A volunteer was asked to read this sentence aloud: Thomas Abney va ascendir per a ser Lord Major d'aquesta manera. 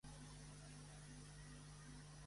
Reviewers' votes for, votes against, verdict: 0, 2, rejected